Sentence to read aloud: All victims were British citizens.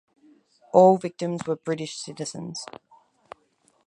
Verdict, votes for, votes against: accepted, 4, 0